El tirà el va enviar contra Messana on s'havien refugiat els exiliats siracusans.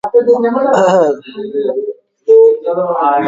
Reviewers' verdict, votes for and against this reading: rejected, 0, 2